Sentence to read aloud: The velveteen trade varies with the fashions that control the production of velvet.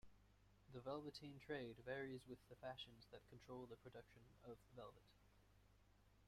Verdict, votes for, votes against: accepted, 2, 1